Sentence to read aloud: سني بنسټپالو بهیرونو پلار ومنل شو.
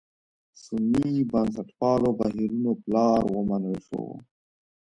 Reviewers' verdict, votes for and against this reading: rejected, 1, 2